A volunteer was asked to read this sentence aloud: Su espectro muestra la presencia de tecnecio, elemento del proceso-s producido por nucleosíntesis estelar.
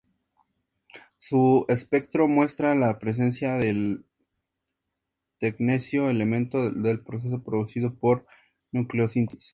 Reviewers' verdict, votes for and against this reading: rejected, 0, 2